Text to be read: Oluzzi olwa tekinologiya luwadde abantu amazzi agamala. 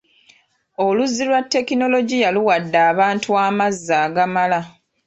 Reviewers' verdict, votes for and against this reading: accepted, 4, 2